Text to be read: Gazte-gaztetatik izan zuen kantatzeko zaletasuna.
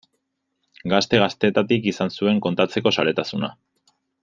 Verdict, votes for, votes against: rejected, 0, 2